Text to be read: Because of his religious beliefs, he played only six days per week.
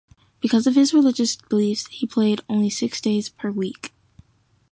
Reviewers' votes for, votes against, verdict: 2, 0, accepted